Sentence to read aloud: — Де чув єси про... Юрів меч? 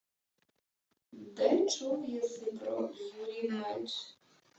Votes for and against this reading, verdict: 1, 2, rejected